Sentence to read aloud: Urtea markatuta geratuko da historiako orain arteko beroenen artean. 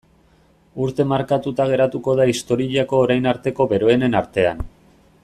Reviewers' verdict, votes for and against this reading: rejected, 1, 2